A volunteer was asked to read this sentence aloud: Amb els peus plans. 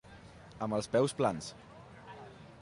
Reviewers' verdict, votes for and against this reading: rejected, 1, 2